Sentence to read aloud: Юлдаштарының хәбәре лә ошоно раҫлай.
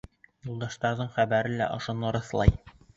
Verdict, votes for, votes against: rejected, 1, 2